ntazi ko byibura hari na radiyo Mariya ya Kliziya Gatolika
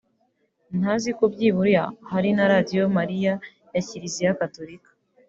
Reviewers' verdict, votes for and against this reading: accepted, 2, 0